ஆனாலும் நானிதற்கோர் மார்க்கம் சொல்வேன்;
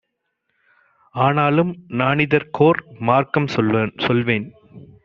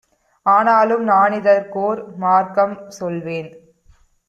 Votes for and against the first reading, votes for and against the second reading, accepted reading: 0, 2, 2, 0, second